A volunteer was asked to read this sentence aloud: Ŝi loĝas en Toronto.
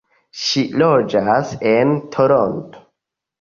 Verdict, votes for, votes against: accepted, 2, 1